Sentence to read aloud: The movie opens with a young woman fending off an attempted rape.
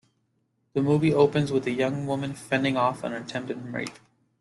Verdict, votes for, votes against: accepted, 2, 1